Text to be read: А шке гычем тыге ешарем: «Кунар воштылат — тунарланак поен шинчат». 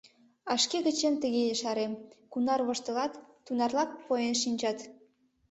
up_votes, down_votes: 0, 2